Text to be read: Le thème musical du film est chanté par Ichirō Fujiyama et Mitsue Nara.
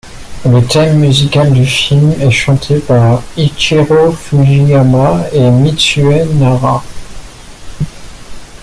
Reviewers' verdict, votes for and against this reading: accepted, 2, 1